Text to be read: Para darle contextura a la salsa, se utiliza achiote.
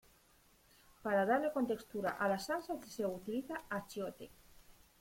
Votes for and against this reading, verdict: 0, 2, rejected